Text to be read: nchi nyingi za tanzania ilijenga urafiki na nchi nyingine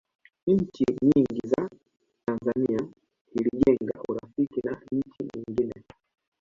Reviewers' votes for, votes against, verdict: 2, 0, accepted